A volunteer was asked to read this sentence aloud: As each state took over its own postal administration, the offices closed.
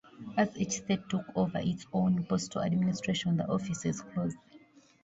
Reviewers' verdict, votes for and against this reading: accepted, 2, 0